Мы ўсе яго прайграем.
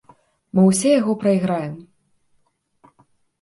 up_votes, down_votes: 2, 0